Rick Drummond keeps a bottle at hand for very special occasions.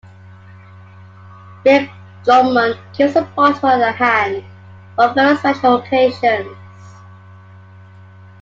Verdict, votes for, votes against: accepted, 2, 1